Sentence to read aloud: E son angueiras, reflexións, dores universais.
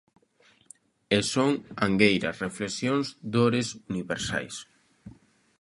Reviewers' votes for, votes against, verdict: 2, 0, accepted